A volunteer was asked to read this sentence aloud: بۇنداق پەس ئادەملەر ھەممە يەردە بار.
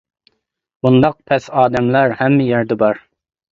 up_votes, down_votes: 2, 0